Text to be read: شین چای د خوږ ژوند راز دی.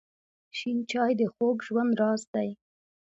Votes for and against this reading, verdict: 0, 2, rejected